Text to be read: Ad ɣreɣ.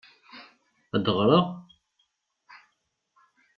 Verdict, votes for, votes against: rejected, 0, 2